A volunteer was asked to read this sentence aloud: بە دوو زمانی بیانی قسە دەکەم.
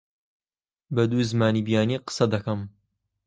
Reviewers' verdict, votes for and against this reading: accepted, 2, 0